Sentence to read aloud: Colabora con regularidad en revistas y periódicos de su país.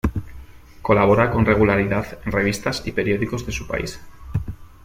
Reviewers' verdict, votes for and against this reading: accepted, 2, 0